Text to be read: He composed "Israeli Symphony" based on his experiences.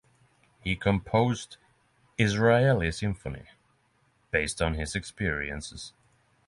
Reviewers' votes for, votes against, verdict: 6, 3, accepted